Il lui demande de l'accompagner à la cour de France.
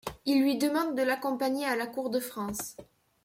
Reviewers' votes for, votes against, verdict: 2, 0, accepted